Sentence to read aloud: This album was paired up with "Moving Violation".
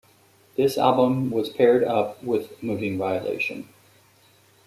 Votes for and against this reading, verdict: 2, 0, accepted